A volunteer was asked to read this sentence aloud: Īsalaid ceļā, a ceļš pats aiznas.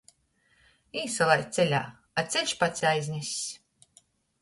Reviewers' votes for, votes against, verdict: 0, 2, rejected